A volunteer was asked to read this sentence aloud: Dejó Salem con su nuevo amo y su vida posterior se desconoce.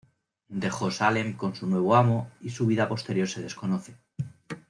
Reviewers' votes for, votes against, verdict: 2, 0, accepted